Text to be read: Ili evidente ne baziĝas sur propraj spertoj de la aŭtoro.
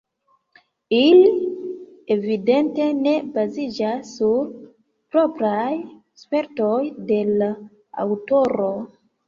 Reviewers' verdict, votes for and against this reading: rejected, 0, 2